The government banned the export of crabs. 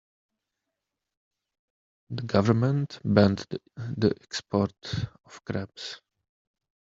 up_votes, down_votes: 0, 2